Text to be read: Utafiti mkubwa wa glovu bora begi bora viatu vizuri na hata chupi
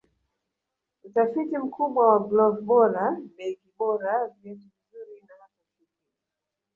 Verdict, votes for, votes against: rejected, 0, 2